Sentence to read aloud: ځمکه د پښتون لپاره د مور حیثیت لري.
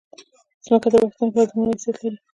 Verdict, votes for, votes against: rejected, 1, 2